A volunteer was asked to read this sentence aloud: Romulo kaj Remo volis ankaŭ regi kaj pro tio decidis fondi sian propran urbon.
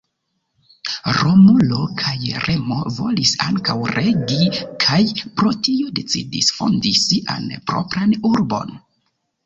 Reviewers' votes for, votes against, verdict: 2, 1, accepted